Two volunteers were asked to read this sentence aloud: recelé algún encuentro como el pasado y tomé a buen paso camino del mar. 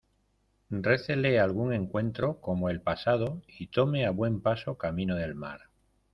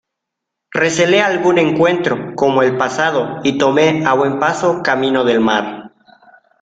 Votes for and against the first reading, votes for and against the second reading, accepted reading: 1, 2, 2, 0, second